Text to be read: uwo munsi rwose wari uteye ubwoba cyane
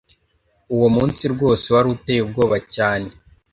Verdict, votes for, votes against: accepted, 2, 0